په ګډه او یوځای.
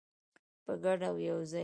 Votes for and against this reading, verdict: 2, 0, accepted